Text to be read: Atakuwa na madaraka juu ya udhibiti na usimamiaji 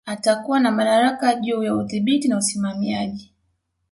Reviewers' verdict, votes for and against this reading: accepted, 2, 0